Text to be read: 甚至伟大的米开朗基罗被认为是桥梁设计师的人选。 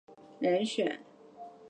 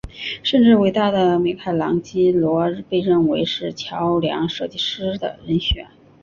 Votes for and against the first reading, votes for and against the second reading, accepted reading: 0, 2, 5, 0, second